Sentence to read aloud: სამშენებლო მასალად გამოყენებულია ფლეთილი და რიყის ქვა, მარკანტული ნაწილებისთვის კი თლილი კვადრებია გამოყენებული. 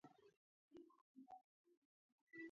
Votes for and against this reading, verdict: 0, 2, rejected